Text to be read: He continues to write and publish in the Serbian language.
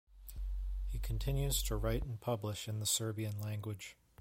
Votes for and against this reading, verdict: 2, 0, accepted